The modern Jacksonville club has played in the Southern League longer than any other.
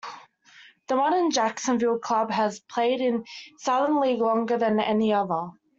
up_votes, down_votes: 1, 2